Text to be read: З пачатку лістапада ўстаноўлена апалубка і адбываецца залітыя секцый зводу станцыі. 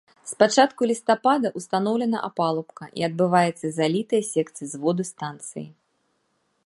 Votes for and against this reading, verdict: 3, 1, accepted